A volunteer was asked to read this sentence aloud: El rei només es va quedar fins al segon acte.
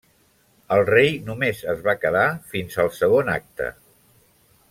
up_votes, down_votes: 3, 1